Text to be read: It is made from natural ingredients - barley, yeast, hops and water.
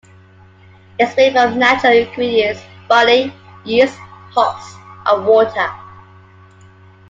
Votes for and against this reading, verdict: 1, 2, rejected